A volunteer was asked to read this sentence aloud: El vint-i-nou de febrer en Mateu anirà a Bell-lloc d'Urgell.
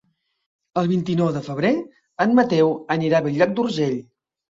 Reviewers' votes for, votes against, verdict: 3, 0, accepted